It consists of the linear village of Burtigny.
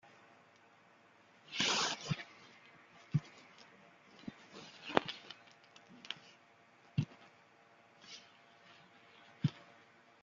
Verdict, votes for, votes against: rejected, 0, 2